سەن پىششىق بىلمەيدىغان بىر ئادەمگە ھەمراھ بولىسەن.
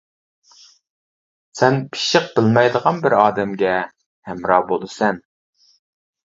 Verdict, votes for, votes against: accepted, 2, 0